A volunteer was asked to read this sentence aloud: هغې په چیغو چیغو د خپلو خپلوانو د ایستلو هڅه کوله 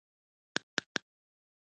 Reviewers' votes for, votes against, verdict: 2, 3, rejected